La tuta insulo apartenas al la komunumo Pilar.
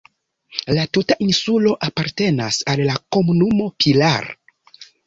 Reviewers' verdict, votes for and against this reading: accepted, 2, 0